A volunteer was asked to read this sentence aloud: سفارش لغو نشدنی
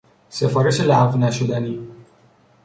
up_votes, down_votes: 3, 0